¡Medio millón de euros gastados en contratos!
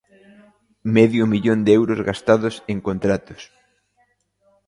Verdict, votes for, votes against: accepted, 2, 0